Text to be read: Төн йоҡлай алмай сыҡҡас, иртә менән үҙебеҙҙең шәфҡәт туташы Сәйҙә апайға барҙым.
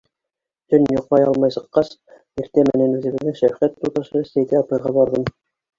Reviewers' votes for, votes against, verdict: 2, 0, accepted